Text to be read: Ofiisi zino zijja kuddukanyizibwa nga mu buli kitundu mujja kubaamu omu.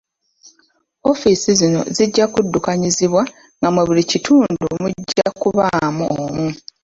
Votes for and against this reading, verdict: 1, 2, rejected